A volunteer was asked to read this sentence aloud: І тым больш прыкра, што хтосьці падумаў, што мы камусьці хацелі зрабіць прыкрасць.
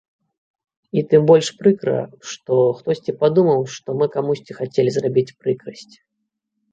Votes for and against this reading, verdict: 2, 0, accepted